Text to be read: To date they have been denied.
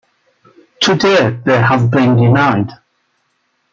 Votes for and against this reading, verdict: 0, 2, rejected